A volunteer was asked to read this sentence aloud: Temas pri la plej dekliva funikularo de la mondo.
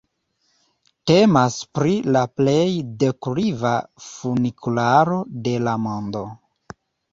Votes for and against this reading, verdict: 2, 1, accepted